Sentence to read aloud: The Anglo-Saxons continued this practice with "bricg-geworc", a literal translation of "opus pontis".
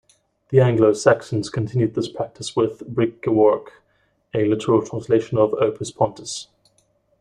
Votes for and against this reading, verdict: 1, 2, rejected